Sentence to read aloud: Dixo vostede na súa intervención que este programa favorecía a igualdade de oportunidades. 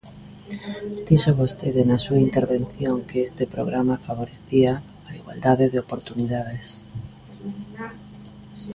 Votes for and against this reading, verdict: 1, 2, rejected